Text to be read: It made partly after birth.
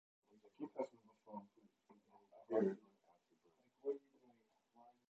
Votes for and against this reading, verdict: 0, 2, rejected